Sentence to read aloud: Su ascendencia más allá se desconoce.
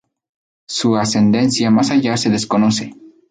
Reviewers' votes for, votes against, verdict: 0, 2, rejected